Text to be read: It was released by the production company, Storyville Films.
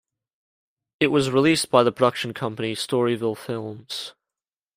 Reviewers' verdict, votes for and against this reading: accepted, 2, 0